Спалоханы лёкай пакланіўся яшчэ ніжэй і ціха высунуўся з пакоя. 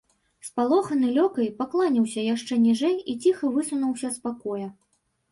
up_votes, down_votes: 1, 3